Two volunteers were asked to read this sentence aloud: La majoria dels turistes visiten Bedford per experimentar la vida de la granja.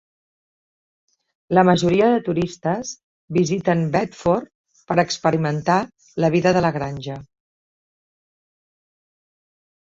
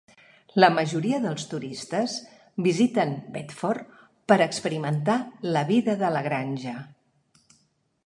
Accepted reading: second